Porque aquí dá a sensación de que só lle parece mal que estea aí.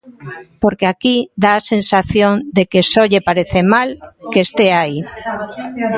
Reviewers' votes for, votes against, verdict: 2, 0, accepted